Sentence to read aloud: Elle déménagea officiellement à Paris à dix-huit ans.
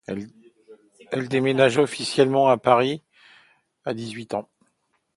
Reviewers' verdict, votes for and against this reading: accepted, 2, 0